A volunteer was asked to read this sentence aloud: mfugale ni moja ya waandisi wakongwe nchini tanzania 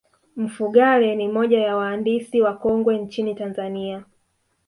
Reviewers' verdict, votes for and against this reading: rejected, 1, 2